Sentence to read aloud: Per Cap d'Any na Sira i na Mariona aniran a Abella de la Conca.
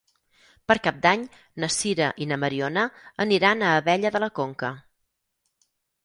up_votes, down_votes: 4, 0